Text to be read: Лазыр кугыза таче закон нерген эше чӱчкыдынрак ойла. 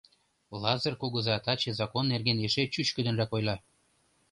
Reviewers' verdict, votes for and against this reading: accepted, 2, 0